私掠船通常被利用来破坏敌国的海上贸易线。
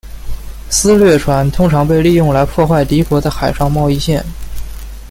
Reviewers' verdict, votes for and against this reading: accepted, 2, 0